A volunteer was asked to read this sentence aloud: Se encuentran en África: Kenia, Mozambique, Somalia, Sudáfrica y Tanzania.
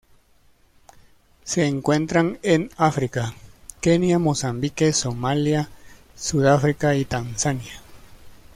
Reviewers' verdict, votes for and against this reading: accepted, 2, 0